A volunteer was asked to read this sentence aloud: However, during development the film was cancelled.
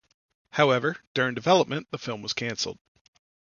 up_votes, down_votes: 2, 0